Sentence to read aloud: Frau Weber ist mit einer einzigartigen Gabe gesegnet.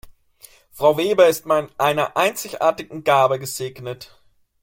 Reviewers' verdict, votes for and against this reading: rejected, 0, 2